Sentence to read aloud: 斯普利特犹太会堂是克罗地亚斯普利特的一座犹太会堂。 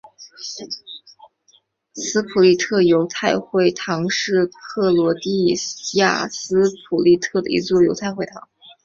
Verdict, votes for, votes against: accepted, 3, 2